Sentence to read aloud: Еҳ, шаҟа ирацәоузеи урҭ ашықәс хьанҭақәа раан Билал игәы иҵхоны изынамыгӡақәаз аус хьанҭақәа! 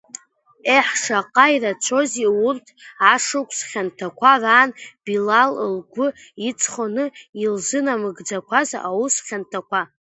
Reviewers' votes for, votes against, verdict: 0, 2, rejected